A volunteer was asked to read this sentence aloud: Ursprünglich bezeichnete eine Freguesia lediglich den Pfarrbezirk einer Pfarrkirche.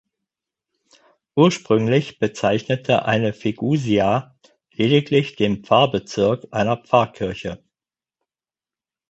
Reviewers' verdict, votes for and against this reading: rejected, 0, 4